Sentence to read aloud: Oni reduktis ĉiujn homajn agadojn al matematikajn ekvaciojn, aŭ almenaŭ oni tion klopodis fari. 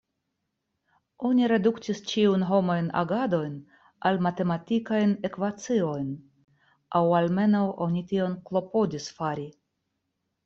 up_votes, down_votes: 1, 2